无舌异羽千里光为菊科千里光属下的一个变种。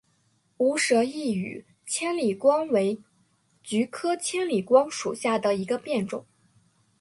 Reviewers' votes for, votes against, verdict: 3, 0, accepted